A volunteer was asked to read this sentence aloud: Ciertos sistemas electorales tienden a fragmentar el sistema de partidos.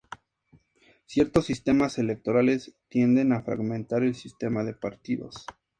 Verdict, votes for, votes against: accepted, 2, 0